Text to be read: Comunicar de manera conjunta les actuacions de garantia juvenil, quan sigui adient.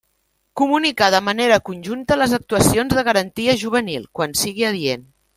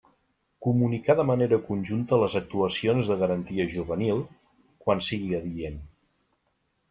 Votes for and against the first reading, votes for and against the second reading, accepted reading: 1, 2, 2, 0, second